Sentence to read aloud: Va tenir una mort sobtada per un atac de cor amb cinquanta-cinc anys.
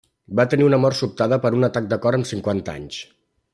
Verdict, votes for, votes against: rejected, 1, 2